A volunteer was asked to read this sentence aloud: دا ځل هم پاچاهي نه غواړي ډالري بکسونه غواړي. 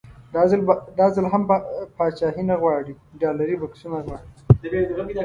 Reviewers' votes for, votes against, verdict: 0, 2, rejected